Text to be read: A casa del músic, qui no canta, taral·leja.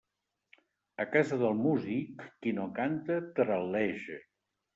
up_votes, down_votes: 2, 0